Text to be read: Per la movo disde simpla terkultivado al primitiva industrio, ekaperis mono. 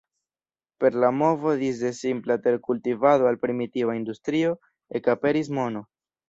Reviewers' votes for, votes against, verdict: 2, 1, accepted